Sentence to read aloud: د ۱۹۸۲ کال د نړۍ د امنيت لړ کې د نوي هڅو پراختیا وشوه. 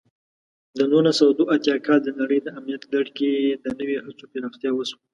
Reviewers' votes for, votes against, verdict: 0, 2, rejected